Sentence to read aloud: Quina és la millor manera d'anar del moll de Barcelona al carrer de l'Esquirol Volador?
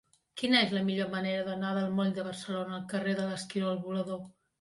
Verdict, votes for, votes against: accepted, 3, 0